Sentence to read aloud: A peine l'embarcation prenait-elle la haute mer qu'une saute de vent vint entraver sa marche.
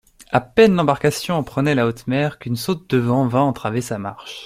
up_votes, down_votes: 1, 2